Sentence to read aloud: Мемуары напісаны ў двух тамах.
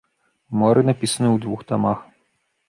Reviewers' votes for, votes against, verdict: 0, 3, rejected